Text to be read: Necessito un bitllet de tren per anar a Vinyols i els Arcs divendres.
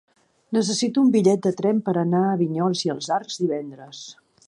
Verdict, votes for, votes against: accepted, 2, 0